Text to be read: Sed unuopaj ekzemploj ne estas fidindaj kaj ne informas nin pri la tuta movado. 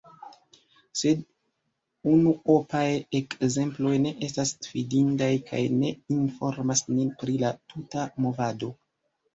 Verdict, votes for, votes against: accepted, 2, 1